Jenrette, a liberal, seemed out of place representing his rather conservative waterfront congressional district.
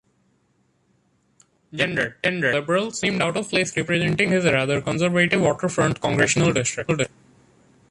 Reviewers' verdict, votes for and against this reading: accepted, 2, 1